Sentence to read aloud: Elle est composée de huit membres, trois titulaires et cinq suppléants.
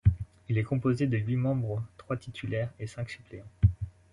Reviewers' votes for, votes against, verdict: 0, 2, rejected